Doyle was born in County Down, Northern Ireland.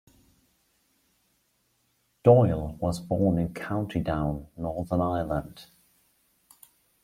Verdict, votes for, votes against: accepted, 2, 0